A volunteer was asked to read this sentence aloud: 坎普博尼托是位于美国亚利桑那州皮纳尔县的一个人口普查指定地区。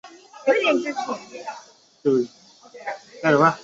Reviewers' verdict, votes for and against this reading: rejected, 0, 3